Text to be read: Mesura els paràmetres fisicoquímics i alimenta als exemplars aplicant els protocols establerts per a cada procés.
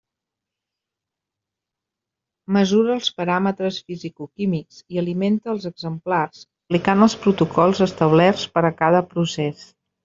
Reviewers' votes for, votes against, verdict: 2, 0, accepted